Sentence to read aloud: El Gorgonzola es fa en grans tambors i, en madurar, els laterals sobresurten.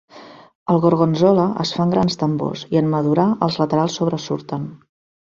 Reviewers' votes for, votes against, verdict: 2, 0, accepted